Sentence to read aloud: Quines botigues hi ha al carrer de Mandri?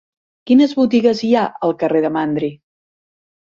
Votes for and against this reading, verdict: 6, 0, accepted